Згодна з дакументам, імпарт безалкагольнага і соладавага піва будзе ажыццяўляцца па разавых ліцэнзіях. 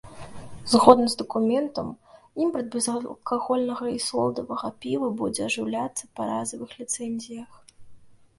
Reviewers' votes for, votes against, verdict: 1, 2, rejected